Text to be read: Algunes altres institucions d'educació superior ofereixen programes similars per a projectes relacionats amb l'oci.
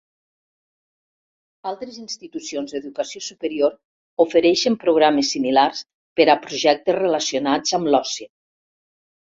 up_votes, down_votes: 1, 2